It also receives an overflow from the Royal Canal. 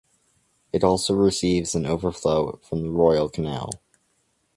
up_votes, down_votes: 2, 0